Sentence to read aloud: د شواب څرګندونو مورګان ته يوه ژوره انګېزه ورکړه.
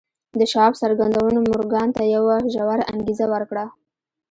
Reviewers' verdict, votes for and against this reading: rejected, 0, 2